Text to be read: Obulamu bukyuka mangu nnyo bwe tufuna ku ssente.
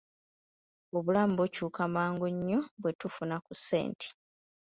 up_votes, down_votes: 2, 0